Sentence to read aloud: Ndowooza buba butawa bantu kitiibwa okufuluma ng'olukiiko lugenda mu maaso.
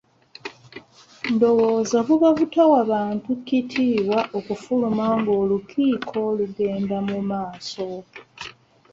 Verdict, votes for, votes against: rejected, 1, 2